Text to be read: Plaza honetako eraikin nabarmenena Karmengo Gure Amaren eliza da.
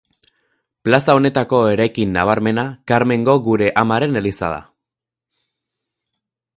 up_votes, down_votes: 2, 2